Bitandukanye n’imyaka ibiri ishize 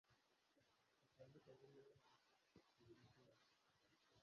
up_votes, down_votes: 0, 2